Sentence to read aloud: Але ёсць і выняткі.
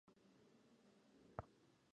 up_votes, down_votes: 0, 2